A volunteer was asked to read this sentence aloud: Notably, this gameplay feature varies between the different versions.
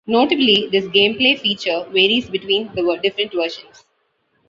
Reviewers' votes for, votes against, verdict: 0, 2, rejected